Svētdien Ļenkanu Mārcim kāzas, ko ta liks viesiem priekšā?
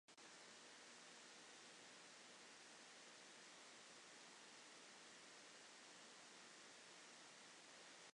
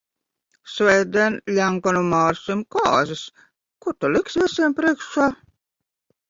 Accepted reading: second